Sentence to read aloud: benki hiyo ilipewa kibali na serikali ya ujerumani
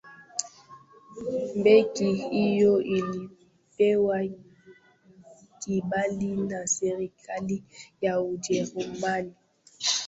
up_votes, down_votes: 0, 2